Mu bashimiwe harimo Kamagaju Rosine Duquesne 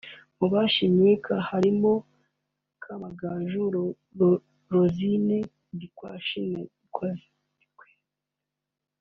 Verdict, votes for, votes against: rejected, 1, 2